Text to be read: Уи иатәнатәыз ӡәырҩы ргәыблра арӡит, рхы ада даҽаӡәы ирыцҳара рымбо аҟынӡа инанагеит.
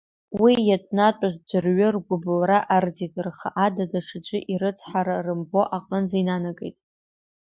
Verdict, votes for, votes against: rejected, 1, 2